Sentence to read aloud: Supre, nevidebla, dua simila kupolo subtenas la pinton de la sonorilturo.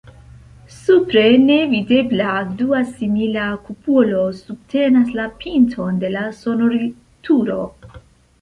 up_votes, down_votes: 2, 0